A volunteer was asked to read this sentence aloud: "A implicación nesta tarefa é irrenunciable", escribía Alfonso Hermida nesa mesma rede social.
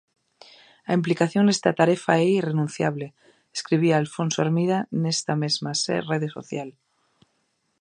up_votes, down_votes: 0, 2